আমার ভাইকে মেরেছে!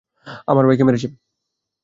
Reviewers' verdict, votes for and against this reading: accepted, 2, 0